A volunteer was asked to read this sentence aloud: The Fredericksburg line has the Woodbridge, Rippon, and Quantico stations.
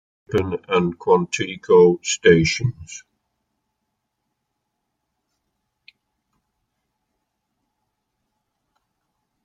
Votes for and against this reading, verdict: 0, 2, rejected